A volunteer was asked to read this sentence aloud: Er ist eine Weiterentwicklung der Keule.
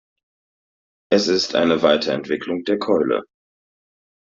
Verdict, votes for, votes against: rejected, 0, 2